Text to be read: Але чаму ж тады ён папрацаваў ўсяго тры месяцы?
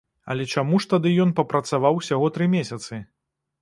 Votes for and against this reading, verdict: 2, 0, accepted